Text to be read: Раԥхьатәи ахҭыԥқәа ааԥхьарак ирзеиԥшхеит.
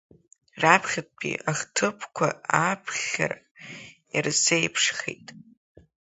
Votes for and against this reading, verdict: 3, 1, accepted